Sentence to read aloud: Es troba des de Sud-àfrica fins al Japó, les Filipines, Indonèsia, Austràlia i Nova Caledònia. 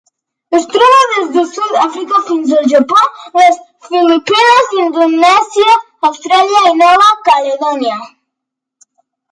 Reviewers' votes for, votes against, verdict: 1, 2, rejected